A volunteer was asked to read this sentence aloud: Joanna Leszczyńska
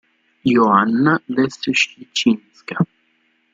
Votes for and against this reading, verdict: 0, 2, rejected